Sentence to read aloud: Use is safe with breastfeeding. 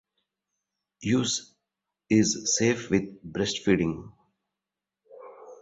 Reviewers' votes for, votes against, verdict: 2, 0, accepted